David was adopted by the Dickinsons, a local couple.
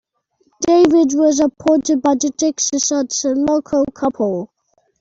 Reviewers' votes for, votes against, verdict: 0, 2, rejected